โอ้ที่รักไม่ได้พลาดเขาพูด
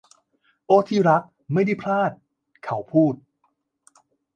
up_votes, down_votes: 2, 0